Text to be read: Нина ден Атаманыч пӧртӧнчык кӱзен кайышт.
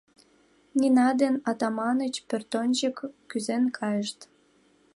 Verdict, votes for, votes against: accepted, 2, 0